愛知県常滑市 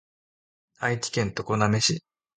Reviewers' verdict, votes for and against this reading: accepted, 3, 0